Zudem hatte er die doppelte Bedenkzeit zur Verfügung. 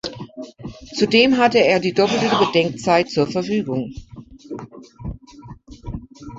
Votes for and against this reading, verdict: 2, 1, accepted